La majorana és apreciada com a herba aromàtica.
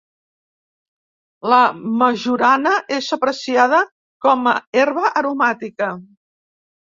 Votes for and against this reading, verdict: 2, 0, accepted